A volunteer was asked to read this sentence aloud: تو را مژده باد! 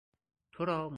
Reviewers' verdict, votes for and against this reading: rejected, 0, 4